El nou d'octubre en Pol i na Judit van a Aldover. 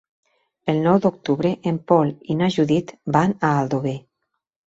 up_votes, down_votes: 3, 0